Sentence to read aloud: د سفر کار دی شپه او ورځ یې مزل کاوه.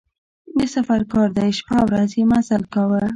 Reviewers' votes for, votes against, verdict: 1, 2, rejected